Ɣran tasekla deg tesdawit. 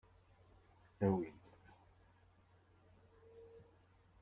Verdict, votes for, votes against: rejected, 0, 2